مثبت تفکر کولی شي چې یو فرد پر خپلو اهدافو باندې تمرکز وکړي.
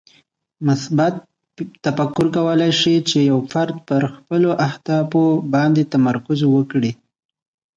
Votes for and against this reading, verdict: 2, 0, accepted